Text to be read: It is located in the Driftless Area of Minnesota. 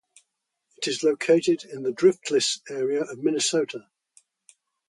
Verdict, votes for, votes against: rejected, 2, 2